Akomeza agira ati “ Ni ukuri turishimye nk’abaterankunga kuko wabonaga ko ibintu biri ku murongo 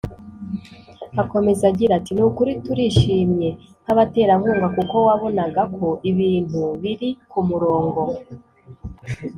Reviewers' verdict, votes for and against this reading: accepted, 2, 0